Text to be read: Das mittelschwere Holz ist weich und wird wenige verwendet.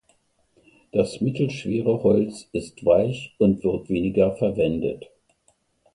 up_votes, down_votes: 1, 2